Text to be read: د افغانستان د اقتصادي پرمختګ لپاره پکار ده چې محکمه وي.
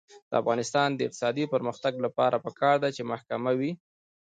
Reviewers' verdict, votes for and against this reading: rejected, 0, 2